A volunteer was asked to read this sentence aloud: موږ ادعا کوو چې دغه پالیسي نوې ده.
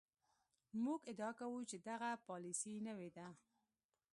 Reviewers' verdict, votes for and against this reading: rejected, 1, 2